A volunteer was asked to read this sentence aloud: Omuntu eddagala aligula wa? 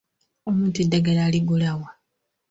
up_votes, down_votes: 2, 0